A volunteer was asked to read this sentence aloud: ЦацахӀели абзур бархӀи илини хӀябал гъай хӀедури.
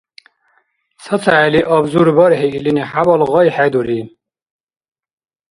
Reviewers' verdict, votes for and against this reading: accepted, 2, 0